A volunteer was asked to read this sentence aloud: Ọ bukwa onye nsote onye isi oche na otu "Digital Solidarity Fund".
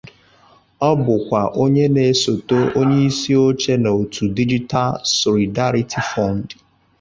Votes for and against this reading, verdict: 0, 2, rejected